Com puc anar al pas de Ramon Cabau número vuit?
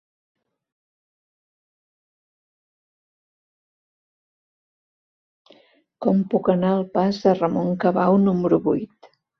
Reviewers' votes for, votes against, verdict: 1, 2, rejected